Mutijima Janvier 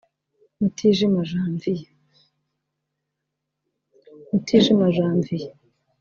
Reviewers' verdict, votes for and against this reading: rejected, 2, 4